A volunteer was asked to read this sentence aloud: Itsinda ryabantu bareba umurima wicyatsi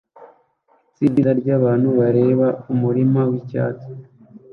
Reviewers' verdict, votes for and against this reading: rejected, 0, 2